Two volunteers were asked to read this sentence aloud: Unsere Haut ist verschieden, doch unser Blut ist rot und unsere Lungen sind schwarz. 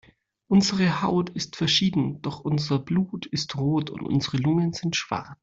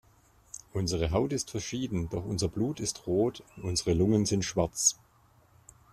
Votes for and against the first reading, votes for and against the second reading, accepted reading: 1, 2, 2, 0, second